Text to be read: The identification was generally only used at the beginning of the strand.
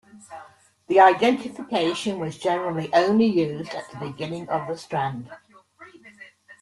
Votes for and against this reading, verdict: 1, 2, rejected